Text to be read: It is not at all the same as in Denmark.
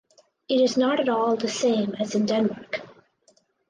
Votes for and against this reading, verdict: 4, 0, accepted